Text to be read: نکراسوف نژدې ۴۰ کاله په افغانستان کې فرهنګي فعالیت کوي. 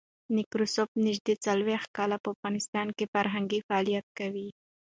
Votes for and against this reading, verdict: 0, 2, rejected